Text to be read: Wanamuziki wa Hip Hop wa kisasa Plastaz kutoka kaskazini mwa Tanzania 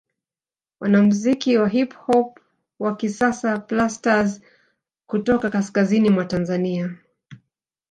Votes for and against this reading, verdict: 0, 2, rejected